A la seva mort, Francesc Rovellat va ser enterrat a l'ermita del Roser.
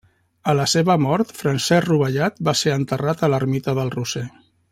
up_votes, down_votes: 1, 2